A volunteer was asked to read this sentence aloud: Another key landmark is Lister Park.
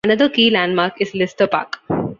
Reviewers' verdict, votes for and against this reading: accepted, 2, 0